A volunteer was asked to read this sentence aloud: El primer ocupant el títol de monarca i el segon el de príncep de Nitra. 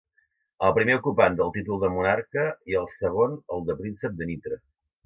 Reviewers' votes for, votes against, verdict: 2, 0, accepted